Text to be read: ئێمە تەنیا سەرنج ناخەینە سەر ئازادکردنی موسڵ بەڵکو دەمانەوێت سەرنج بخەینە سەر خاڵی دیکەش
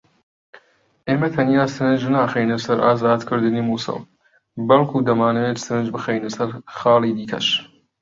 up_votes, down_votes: 2, 0